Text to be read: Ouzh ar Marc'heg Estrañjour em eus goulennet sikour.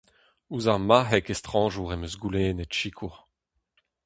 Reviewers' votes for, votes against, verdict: 2, 0, accepted